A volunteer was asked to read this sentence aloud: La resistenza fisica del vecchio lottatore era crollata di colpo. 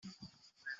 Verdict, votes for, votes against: rejected, 0, 2